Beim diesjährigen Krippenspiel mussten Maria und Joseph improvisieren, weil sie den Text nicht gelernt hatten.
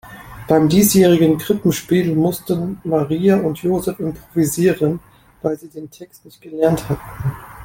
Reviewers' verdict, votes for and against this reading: rejected, 2, 3